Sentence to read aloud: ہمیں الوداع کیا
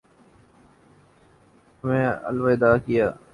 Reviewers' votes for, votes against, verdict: 0, 2, rejected